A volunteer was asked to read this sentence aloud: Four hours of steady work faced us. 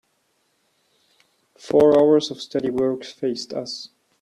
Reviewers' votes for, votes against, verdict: 2, 0, accepted